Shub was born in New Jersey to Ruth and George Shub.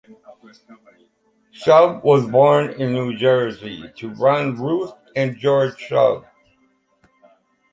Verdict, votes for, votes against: rejected, 0, 2